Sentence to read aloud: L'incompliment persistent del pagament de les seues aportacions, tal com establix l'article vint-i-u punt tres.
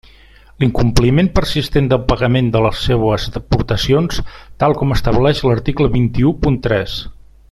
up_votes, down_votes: 1, 2